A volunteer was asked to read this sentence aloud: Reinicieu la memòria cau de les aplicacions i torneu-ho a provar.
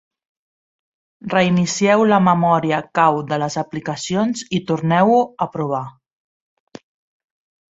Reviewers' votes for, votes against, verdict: 2, 0, accepted